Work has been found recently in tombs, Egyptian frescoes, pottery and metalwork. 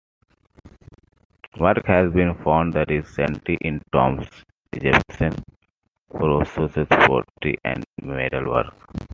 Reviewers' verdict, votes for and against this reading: rejected, 0, 2